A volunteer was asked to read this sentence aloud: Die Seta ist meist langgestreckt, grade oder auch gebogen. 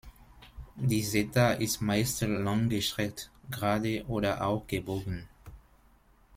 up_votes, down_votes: 1, 2